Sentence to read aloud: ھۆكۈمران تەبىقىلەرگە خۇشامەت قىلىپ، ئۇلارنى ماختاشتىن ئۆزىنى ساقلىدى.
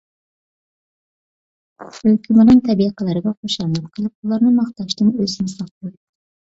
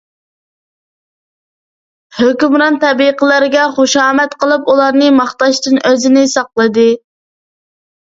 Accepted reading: second